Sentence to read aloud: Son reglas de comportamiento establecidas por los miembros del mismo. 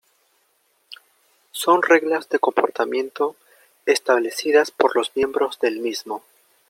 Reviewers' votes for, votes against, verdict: 2, 1, accepted